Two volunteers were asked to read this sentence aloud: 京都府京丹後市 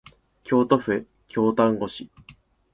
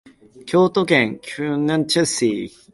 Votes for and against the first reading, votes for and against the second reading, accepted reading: 2, 0, 1, 2, first